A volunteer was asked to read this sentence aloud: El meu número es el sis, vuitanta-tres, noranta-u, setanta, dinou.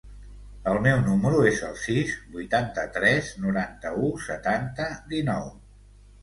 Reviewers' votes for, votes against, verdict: 2, 0, accepted